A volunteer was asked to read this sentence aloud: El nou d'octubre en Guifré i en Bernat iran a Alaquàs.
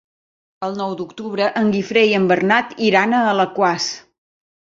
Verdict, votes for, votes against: accepted, 3, 0